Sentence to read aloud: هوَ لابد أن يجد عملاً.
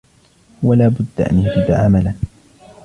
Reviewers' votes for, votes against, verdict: 1, 2, rejected